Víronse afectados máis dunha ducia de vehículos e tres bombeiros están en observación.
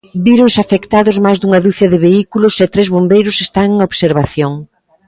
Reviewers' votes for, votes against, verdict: 2, 0, accepted